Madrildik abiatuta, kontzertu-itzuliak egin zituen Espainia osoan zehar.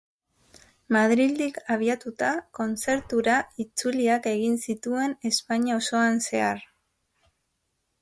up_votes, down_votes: 0, 2